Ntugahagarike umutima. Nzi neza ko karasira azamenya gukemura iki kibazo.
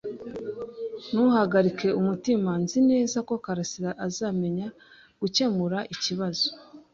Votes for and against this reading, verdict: 0, 2, rejected